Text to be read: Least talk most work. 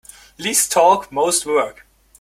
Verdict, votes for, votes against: accepted, 2, 1